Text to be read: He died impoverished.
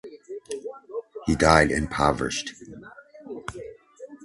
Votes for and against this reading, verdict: 2, 0, accepted